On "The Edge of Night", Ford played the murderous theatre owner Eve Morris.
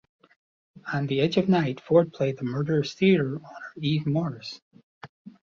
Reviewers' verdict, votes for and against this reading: rejected, 1, 2